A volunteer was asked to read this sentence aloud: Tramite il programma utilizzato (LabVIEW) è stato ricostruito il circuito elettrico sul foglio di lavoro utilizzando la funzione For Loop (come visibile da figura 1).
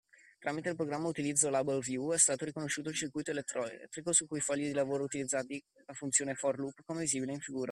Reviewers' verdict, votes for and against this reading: rejected, 0, 2